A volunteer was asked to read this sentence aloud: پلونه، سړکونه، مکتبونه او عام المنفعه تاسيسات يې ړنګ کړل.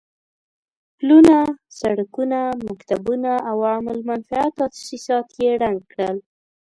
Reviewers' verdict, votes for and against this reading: accepted, 2, 0